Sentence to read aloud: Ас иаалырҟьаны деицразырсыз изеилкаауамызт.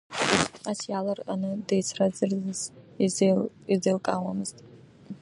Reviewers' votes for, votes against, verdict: 0, 2, rejected